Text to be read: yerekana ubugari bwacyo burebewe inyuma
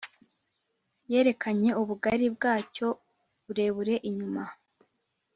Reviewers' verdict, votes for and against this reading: rejected, 0, 2